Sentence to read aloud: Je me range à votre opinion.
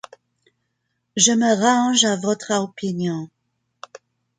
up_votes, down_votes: 1, 3